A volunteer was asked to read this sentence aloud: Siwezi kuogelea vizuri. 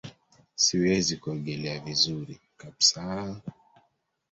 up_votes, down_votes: 0, 2